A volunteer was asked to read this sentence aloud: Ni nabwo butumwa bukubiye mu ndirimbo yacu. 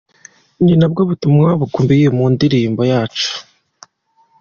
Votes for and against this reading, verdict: 2, 0, accepted